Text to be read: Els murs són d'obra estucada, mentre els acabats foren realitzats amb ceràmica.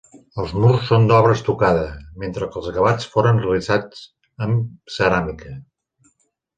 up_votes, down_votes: 1, 2